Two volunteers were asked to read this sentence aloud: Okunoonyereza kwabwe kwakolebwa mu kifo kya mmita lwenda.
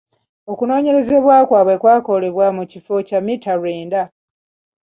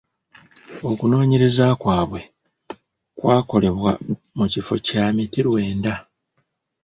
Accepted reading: first